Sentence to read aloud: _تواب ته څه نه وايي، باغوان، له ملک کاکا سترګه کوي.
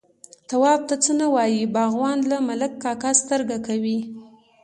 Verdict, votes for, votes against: accepted, 2, 0